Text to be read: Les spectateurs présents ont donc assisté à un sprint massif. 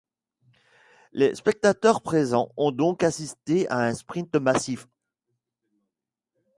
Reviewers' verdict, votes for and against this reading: accepted, 2, 0